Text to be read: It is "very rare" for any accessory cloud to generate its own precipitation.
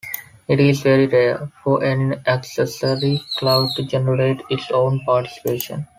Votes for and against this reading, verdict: 1, 2, rejected